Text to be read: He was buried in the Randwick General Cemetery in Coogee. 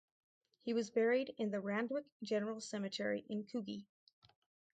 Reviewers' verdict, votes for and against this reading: accepted, 2, 0